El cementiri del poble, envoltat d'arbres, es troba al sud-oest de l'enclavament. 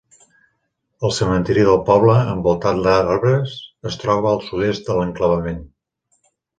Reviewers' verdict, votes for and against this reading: rejected, 0, 2